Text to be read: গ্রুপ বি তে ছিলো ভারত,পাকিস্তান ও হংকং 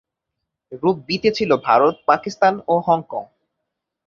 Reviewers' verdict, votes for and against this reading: accepted, 5, 0